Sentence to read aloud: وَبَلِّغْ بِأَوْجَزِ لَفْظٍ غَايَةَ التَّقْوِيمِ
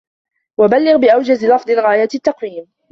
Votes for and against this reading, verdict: 2, 0, accepted